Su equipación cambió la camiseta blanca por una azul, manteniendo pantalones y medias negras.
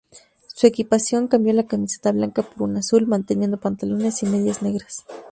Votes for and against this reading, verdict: 2, 0, accepted